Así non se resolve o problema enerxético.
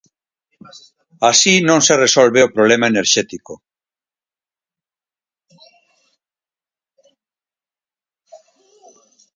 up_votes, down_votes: 2, 4